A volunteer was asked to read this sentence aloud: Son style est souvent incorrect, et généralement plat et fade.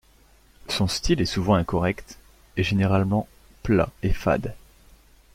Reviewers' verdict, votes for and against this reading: accepted, 2, 0